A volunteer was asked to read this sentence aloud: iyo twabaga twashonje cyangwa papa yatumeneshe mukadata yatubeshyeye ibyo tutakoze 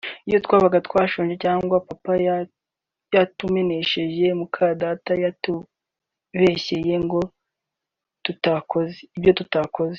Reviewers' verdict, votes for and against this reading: rejected, 0, 2